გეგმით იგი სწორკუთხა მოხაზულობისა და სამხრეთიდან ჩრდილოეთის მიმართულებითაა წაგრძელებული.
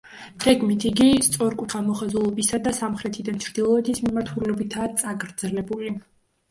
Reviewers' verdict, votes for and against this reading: rejected, 1, 2